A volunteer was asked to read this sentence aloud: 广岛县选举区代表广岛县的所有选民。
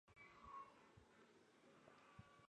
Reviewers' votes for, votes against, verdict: 0, 5, rejected